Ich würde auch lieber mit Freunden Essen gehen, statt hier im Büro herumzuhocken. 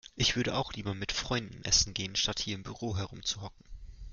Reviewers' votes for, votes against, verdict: 2, 0, accepted